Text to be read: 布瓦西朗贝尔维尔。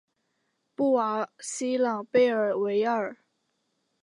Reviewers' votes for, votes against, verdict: 2, 0, accepted